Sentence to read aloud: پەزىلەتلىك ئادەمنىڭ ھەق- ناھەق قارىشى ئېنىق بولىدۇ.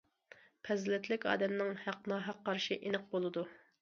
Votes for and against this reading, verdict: 2, 0, accepted